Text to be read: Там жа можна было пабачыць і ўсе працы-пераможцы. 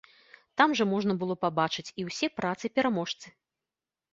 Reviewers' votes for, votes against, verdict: 2, 0, accepted